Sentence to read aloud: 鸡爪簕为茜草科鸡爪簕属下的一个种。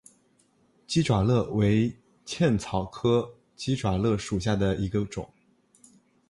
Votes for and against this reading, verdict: 2, 0, accepted